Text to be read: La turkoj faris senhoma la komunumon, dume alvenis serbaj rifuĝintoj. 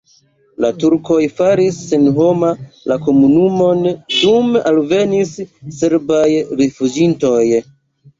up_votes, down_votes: 2, 1